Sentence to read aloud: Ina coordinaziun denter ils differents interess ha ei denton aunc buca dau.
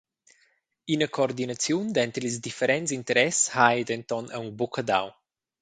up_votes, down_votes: 0, 2